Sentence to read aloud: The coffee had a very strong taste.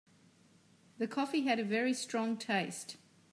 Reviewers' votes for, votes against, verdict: 2, 0, accepted